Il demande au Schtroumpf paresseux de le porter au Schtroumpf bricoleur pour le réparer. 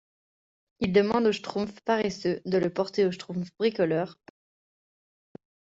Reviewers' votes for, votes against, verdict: 0, 2, rejected